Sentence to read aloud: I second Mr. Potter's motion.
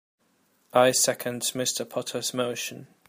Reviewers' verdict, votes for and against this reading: accepted, 2, 0